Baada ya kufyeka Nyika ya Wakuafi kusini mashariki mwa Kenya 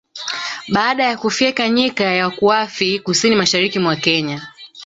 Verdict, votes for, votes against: rejected, 1, 2